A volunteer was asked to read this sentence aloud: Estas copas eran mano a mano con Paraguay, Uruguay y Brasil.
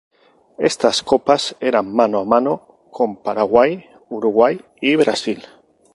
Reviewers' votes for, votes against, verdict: 2, 0, accepted